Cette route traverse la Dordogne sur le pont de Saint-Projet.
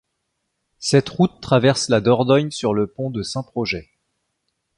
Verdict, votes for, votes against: accepted, 2, 0